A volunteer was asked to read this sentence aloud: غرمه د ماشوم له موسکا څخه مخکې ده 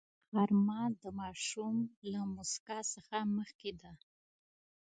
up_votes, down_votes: 1, 2